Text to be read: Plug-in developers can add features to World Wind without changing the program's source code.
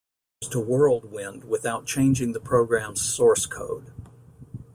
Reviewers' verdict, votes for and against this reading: rejected, 1, 2